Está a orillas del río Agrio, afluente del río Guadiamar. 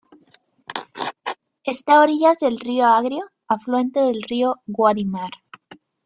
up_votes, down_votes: 0, 2